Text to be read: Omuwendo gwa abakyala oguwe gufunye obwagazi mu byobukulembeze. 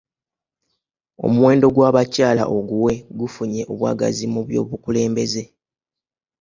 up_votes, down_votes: 2, 1